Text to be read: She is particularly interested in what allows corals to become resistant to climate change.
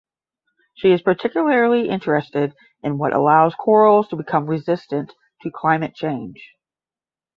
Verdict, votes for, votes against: accepted, 10, 0